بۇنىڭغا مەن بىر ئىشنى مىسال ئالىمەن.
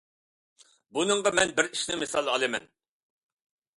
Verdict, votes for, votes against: accepted, 2, 0